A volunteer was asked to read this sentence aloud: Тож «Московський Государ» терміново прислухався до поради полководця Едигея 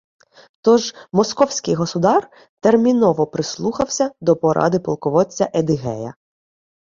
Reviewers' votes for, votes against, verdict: 2, 0, accepted